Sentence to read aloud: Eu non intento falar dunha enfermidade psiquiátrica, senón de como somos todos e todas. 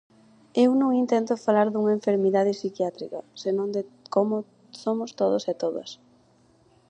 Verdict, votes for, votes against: accepted, 4, 0